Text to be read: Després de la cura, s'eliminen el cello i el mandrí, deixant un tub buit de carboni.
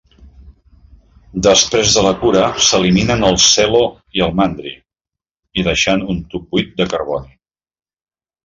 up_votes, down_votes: 1, 2